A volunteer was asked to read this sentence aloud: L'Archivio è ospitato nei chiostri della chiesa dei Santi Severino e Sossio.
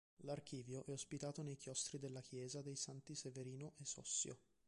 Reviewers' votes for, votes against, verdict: 0, 2, rejected